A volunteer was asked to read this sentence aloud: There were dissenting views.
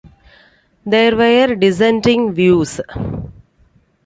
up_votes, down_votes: 2, 1